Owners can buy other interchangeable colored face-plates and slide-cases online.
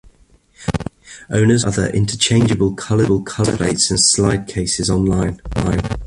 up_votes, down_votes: 0, 2